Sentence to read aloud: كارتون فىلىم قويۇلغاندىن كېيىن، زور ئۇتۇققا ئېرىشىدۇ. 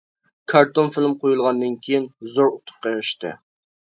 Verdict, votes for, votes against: rejected, 0, 2